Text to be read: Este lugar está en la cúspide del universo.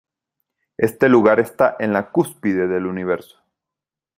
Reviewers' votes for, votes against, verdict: 2, 0, accepted